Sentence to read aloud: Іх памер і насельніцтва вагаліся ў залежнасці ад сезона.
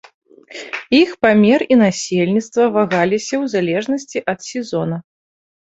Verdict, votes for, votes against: accepted, 2, 0